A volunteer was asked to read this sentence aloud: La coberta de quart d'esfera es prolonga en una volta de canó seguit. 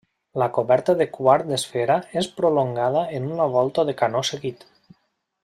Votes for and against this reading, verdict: 0, 2, rejected